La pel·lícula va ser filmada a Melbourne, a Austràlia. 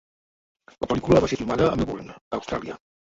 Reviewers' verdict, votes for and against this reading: rejected, 0, 2